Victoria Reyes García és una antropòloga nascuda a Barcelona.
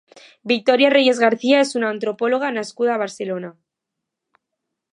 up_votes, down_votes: 2, 0